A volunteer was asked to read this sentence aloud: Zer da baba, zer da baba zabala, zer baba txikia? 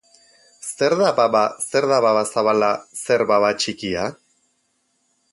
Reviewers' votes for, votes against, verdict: 4, 0, accepted